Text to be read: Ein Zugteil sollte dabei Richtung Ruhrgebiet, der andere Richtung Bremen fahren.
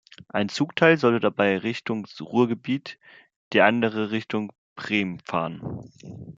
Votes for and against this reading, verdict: 1, 2, rejected